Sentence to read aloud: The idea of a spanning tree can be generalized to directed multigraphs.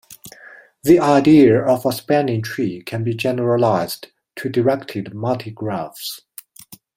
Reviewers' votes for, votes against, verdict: 2, 0, accepted